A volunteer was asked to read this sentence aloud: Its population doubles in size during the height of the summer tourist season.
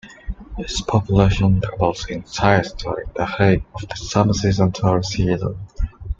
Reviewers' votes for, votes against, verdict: 0, 2, rejected